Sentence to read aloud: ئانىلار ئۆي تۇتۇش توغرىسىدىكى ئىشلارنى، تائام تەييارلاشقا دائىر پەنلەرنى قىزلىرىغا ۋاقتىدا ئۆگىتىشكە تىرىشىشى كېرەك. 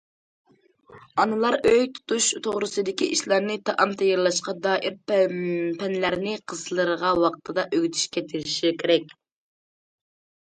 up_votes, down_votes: 0, 2